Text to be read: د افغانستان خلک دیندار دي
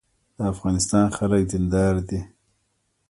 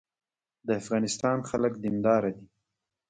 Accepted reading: first